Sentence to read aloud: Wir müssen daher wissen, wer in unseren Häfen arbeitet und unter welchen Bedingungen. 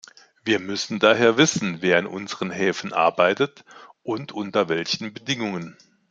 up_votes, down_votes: 2, 0